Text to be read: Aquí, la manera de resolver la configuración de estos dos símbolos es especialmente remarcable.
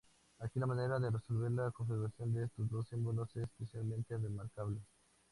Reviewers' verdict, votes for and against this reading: accepted, 2, 0